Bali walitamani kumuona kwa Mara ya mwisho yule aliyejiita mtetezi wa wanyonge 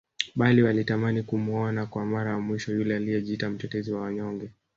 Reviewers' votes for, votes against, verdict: 2, 1, accepted